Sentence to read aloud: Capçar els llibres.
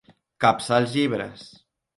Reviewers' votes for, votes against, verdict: 2, 0, accepted